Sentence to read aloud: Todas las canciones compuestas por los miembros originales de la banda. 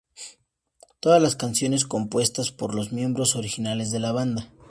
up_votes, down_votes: 2, 0